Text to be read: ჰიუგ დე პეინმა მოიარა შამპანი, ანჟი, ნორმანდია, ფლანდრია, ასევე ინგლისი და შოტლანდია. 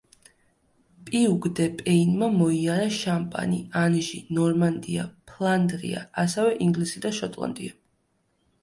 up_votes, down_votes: 0, 2